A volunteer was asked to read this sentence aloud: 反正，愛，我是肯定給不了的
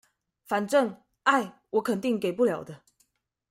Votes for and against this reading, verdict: 1, 2, rejected